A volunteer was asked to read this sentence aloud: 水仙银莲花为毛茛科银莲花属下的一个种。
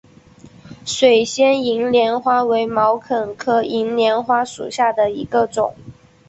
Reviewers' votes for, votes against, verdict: 3, 2, accepted